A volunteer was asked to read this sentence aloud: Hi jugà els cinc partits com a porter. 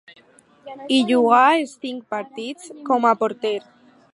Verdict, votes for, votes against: accepted, 4, 0